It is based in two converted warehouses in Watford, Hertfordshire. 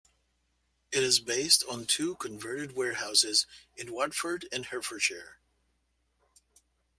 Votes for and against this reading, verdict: 0, 2, rejected